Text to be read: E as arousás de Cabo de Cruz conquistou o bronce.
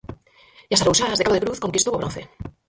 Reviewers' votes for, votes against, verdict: 0, 4, rejected